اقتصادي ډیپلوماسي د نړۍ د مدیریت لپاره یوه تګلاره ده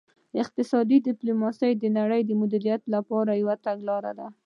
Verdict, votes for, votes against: accepted, 2, 0